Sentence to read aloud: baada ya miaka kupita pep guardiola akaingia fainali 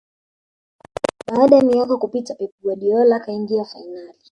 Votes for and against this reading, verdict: 2, 3, rejected